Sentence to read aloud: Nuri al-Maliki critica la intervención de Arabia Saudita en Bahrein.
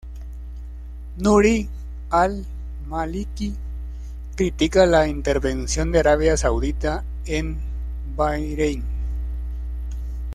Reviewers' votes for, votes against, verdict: 2, 1, accepted